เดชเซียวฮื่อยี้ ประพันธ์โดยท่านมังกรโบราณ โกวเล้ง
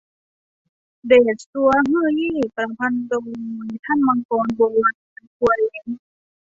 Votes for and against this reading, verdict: 1, 2, rejected